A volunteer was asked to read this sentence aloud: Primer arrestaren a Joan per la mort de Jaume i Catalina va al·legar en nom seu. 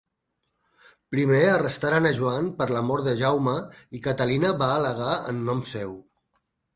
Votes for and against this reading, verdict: 4, 0, accepted